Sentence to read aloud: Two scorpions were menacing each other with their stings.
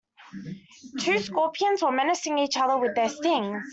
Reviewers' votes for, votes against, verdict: 0, 2, rejected